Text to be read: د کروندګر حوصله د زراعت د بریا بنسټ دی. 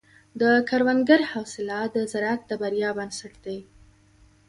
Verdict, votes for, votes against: accepted, 2, 0